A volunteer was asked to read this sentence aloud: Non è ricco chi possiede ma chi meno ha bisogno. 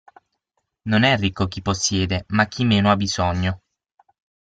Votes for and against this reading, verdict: 6, 0, accepted